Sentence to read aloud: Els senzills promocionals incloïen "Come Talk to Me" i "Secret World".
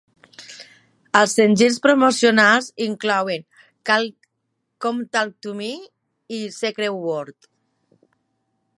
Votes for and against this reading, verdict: 0, 2, rejected